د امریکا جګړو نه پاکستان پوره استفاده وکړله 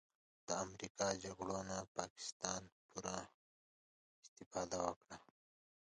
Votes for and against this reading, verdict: 2, 0, accepted